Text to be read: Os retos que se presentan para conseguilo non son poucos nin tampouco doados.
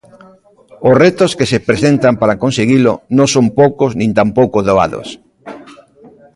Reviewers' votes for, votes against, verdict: 0, 3, rejected